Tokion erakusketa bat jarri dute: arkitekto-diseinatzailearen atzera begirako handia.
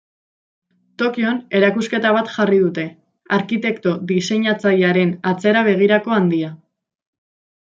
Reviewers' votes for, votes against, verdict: 2, 0, accepted